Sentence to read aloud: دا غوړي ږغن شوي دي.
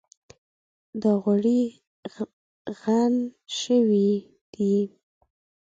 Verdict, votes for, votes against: rejected, 0, 2